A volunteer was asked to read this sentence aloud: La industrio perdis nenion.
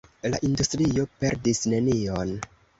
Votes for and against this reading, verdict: 2, 0, accepted